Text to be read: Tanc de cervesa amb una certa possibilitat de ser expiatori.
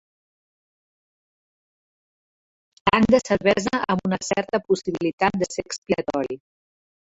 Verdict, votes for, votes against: rejected, 1, 2